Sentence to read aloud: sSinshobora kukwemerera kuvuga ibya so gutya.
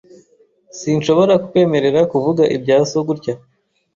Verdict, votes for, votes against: accepted, 2, 0